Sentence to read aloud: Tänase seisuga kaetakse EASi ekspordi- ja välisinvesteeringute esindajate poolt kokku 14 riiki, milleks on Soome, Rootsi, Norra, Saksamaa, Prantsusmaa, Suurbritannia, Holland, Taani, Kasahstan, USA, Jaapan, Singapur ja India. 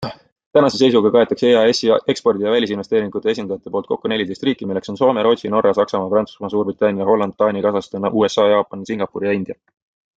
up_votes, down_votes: 0, 2